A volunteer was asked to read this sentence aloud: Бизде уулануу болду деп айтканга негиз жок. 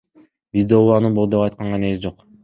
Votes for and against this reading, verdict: 2, 1, accepted